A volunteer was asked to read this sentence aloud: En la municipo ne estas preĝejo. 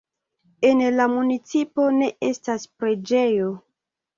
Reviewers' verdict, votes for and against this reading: accepted, 2, 0